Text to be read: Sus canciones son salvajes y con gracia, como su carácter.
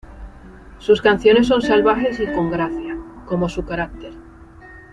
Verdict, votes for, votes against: accepted, 2, 0